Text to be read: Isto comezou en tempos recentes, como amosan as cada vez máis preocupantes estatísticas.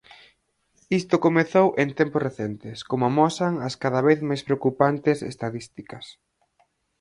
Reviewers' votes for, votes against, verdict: 4, 0, accepted